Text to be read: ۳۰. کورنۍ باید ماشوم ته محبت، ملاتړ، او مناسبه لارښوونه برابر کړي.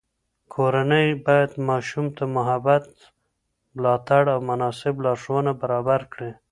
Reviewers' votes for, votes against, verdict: 0, 2, rejected